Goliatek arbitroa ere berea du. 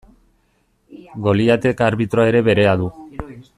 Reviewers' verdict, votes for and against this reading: rejected, 1, 2